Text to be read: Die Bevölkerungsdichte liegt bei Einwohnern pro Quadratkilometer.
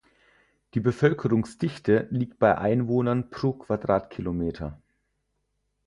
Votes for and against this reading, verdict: 4, 0, accepted